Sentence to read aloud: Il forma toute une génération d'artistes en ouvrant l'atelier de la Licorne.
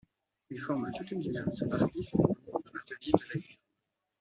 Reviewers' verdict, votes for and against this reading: rejected, 0, 2